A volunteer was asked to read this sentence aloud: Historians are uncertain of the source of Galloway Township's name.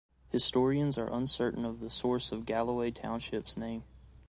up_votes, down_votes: 2, 0